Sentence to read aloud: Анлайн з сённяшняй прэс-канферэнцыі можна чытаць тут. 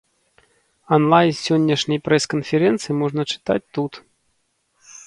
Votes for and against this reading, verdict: 2, 0, accepted